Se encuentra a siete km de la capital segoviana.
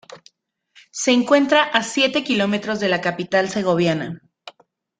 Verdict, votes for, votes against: accepted, 2, 0